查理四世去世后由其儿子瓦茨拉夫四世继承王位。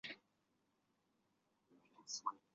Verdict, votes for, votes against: rejected, 0, 5